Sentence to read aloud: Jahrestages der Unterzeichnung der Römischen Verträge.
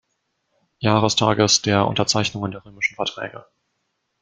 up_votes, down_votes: 1, 2